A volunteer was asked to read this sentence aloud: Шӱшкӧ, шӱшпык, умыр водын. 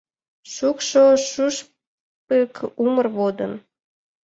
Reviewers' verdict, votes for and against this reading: rejected, 0, 2